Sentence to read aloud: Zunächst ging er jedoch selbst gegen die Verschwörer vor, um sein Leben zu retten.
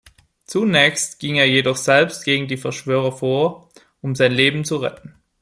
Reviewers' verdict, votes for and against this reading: accepted, 2, 1